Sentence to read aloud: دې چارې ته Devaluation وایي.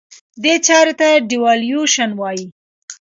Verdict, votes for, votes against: rejected, 0, 2